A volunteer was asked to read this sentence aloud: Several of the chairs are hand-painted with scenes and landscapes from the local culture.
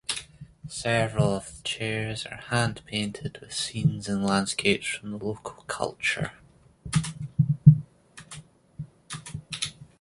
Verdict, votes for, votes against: accepted, 2, 0